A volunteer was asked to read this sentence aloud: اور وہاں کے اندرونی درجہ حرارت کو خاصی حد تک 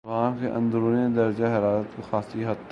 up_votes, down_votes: 2, 0